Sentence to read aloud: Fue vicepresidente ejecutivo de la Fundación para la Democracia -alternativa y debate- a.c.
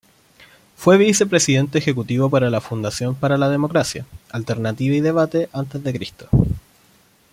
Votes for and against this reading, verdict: 0, 2, rejected